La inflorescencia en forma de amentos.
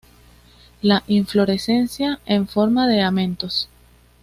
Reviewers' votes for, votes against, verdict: 2, 0, accepted